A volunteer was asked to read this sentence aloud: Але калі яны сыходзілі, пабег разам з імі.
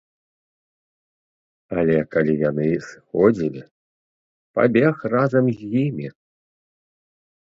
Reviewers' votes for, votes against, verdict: 0, 2, rejected